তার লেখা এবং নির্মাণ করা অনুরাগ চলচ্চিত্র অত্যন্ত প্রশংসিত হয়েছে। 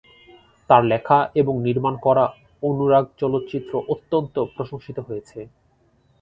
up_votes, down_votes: 6, 2